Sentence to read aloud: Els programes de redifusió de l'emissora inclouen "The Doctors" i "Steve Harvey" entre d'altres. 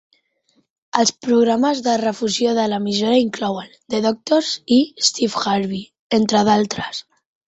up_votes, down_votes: 1, 2